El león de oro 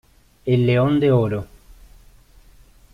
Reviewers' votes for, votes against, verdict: 1, 2, rejected